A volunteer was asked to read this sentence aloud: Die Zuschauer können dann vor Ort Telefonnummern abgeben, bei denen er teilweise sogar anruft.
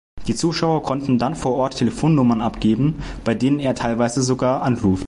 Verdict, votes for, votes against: rejected, 0, 2